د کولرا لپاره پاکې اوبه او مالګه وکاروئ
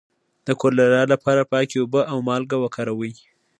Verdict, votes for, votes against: accepted, 2, 0